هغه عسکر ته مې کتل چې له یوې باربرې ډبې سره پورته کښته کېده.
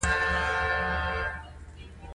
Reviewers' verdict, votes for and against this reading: rejected, 0, 2